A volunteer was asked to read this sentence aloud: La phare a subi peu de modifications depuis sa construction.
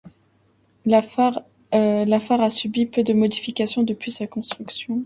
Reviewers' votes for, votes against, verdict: 0, 2, rejected